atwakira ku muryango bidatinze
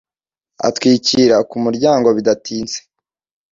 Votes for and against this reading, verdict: 0, 2, rejected